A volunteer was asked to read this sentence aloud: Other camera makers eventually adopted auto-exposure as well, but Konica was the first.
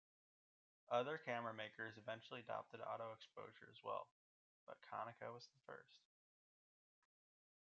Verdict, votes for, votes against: accepted, 2, 0